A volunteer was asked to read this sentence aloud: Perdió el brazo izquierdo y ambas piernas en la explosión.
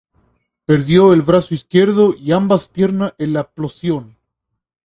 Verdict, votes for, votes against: accepted, 2, 0